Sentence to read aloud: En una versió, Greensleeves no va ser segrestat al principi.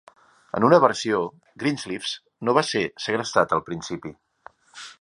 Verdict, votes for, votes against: accepted, 2, 0